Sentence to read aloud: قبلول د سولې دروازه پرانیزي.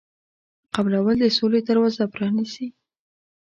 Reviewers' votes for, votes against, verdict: 2, 0, accepted